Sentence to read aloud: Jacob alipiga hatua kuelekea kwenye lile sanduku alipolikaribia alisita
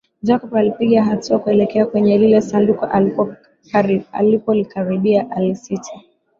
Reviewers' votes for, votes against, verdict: 0, 2, rejected